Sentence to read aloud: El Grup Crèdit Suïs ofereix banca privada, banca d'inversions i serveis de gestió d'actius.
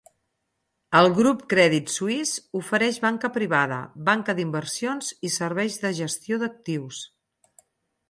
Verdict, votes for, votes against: accepted, 4, 0